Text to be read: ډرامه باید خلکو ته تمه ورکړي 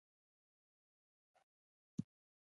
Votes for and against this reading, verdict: 1, 3, rejected